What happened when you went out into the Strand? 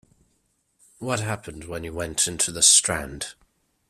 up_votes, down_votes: 0, 2